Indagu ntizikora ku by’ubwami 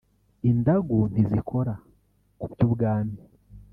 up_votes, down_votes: 0, 2